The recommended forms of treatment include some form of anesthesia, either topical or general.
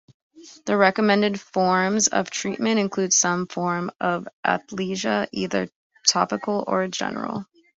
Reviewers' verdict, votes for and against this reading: rejected, 1, 2